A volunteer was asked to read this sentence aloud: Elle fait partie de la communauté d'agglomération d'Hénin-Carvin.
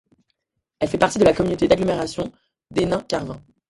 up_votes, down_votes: 2, 0